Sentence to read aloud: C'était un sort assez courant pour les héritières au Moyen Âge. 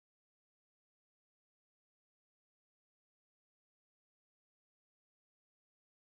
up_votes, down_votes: 0, 2